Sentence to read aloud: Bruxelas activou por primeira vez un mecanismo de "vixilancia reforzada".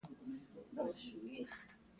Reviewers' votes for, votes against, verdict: 0, 2, rejected